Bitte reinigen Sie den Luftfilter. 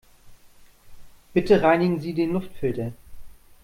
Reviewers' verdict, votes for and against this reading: accepted, 2, 0